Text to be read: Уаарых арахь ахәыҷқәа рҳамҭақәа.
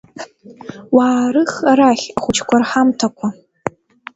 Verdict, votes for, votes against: accepted, 2, 0